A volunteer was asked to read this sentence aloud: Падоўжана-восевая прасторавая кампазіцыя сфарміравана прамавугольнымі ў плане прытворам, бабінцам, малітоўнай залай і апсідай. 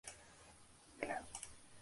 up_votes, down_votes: 0, 2